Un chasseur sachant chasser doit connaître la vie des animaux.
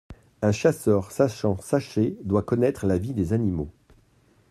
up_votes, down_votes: 0, 2